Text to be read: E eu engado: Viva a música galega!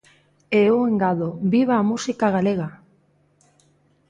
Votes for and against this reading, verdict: 2, 0, accepted